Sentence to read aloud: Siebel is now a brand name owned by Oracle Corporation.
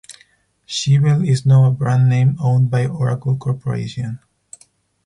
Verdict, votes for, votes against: accepted, 4, 0